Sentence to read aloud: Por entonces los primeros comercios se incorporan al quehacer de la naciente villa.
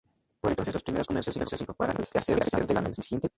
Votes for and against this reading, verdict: 0, 2, rejected